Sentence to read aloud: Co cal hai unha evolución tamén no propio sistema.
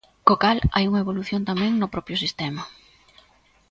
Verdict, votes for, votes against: accepted, 2, 0